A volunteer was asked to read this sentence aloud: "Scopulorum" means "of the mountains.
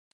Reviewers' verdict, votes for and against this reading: rejected, 0, 2